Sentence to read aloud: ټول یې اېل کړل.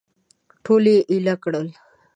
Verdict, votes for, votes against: rejected, 0, 2